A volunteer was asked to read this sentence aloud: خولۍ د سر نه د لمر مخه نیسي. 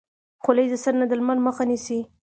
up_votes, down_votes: 2, 1